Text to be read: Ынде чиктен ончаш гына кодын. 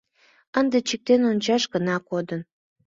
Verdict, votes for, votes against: accepted, 2, 0